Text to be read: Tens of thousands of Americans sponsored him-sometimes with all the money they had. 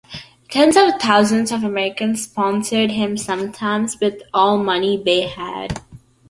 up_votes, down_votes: 0, 2